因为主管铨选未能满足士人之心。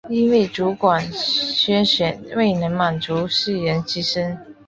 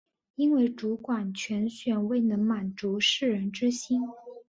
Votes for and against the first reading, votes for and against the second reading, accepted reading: 1, 2, 2, 0, second